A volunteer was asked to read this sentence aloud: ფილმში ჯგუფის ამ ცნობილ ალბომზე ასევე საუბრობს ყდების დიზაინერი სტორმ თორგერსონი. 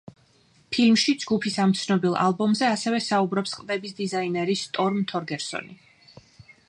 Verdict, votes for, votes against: rejected, 1, 2